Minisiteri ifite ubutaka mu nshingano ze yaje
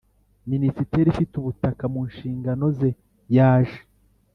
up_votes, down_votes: 2, 0